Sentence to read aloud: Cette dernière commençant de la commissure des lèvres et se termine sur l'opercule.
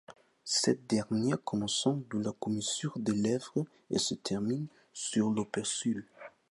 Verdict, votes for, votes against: rejected, 0, 2